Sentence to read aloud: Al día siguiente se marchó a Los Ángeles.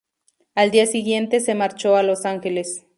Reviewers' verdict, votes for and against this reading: accepted, 2, 0